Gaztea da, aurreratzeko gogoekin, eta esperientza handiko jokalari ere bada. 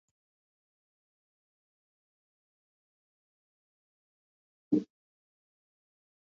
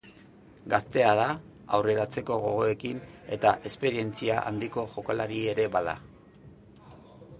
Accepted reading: second